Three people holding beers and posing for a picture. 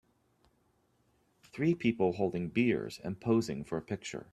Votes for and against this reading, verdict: 2, 1, accepted